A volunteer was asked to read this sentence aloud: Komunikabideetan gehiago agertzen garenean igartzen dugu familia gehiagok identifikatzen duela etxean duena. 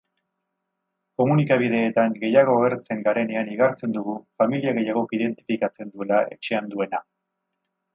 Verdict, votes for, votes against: rejected, 2, 2